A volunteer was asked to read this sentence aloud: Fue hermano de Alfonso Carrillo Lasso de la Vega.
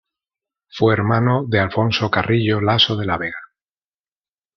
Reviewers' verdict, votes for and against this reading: accepted, 2, 0